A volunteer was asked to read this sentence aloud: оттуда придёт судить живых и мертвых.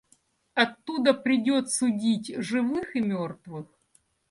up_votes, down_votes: 2, 0